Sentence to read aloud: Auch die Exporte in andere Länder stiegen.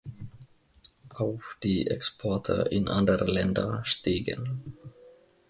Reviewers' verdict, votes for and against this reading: accepted, 2, 0